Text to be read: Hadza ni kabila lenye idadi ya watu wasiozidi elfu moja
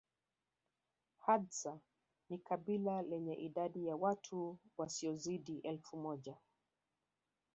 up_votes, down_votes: 0, 2